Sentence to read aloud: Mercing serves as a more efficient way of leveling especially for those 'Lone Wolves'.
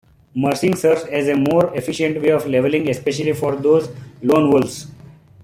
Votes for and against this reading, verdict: 2, 1, accepted